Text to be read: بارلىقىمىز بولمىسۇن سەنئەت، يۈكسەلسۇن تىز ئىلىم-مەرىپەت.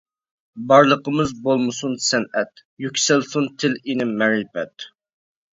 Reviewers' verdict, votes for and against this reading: rejected, 0, 2